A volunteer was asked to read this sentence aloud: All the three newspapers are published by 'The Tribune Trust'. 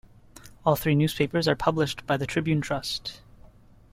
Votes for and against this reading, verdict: 1, 2, rejected